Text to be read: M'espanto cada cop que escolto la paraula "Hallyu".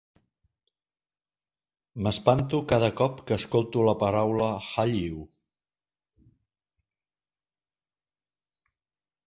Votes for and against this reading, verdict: 2, 0, accepted